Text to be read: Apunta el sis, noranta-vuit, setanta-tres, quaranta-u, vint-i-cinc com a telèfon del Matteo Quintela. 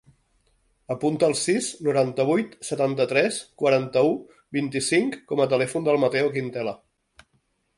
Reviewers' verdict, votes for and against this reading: accepted, 2, 0